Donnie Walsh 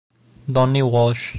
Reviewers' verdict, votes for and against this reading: accepted, 2, 0